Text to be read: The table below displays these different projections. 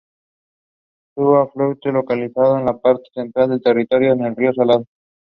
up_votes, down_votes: 0, 3